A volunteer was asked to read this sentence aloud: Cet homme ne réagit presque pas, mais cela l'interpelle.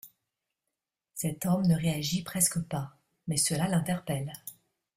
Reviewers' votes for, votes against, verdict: 2, 0, accepted